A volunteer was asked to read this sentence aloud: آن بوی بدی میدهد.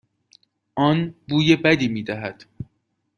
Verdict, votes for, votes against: accepted, 2, 0